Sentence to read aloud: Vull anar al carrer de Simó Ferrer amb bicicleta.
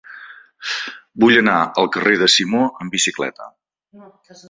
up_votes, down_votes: 0, 2